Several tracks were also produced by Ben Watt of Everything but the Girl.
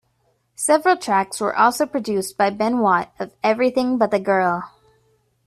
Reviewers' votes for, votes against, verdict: 2, 0, accepted